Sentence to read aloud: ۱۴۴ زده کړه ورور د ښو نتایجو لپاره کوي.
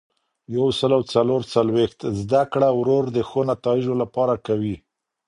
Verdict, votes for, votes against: rejected, 0, 2